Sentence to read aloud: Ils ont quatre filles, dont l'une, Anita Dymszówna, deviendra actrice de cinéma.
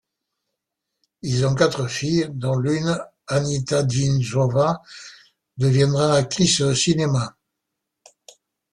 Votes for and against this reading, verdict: 2, 1, accepted